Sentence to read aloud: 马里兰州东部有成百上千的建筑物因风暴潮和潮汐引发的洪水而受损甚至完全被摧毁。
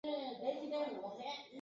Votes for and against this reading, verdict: 0, 3, rejected